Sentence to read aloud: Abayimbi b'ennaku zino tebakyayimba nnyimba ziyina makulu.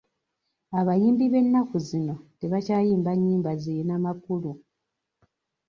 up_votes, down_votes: 2, 0